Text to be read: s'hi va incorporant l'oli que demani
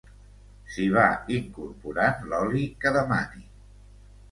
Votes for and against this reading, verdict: 2, 0, accepted